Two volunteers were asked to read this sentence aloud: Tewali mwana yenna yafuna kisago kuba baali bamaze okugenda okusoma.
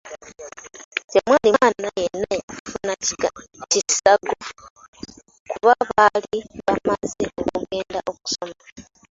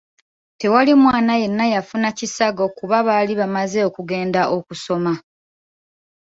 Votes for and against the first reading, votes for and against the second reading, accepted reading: 0, 2, 2, 0, second